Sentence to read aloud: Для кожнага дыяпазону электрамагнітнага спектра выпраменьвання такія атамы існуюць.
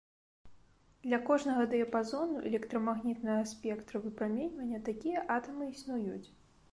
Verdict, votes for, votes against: accepted, 2, 0